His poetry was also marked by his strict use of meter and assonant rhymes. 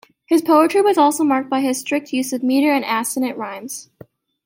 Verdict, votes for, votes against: accepted, 2, 0